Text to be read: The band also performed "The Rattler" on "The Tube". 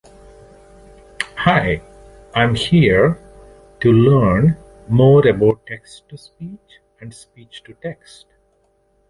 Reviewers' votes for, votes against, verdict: 1, 2, rejected